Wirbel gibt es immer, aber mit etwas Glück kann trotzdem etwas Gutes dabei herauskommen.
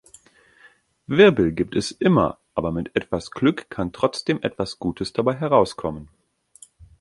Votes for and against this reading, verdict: 2, 0, accepted